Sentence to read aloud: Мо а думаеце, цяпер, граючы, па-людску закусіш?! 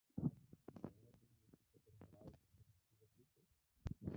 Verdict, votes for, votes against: rejected, 0, 2